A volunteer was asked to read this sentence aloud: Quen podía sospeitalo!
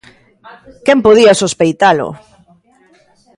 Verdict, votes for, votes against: rejected, 1, 2